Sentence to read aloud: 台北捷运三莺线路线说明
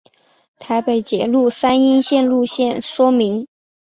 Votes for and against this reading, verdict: 4, 0, accepted